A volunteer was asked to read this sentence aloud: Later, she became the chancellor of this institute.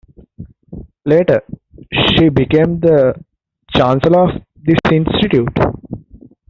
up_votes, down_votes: 0, 2